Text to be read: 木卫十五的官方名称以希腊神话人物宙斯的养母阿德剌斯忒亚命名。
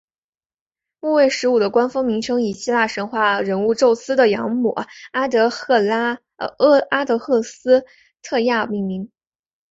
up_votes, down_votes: 3, 1